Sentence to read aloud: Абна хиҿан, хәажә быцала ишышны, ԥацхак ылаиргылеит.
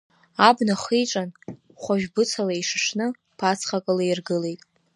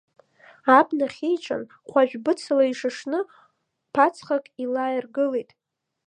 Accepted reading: first